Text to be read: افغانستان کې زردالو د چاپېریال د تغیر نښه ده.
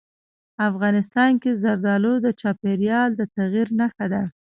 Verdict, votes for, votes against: rejected, 0, 2